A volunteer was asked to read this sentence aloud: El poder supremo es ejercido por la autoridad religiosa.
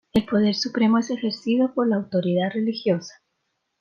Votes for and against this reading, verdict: 2, 0, accepted